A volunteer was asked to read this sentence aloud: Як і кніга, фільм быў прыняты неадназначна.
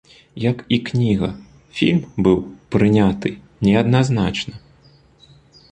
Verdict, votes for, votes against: accepted, 2, 0